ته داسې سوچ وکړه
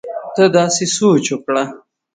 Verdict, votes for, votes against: accepted, 3, 0